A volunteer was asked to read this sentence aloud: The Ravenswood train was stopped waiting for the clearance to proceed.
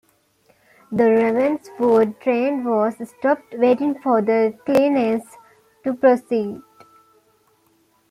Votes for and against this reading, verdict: 2, 1, accepted